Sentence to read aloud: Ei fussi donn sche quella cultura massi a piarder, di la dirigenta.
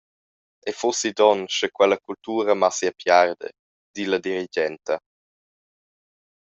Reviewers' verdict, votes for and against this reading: accepted, 2, 0